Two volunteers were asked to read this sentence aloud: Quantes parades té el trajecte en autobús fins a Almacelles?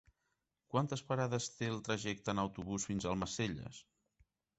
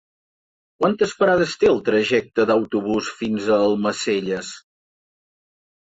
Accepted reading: first